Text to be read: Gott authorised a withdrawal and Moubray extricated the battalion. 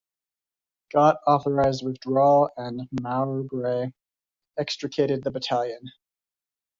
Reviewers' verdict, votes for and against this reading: rejected, 0, 2